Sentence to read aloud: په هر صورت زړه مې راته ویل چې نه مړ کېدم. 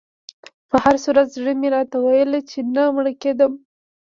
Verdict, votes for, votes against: accepted, 3, 1